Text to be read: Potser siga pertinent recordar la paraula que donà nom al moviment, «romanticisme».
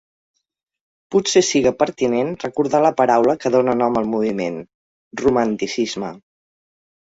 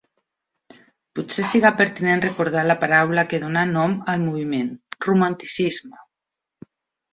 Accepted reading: second